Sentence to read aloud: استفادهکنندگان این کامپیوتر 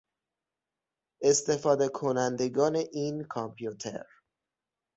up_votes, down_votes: 6, 0